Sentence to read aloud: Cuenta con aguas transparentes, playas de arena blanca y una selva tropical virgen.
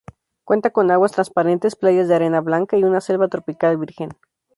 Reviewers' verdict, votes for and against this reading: accepted, 2, 0